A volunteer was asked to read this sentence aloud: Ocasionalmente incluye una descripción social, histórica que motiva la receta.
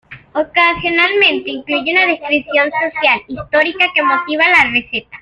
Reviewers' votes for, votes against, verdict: 0, 2, rejected